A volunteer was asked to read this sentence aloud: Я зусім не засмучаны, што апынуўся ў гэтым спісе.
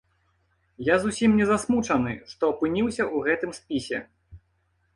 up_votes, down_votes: 0, 2